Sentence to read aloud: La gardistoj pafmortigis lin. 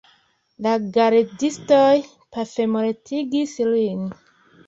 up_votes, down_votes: 2, 0